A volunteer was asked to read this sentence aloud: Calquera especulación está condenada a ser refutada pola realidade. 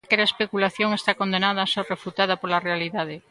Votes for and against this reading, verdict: 1, 2, rejected